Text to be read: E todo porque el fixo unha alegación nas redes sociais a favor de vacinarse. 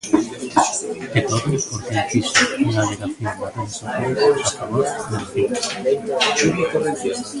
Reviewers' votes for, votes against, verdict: 0, 2, rejected